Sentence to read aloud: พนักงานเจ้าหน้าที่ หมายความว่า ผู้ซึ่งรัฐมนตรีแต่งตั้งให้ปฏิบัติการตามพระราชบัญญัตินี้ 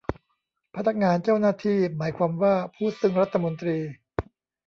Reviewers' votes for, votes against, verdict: 0, 2, rejected